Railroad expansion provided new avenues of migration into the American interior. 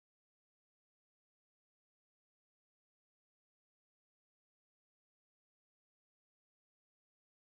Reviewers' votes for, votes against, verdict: 0, 2, rejected